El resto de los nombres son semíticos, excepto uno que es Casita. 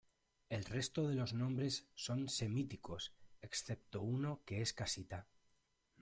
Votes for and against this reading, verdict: 2, 1, accepted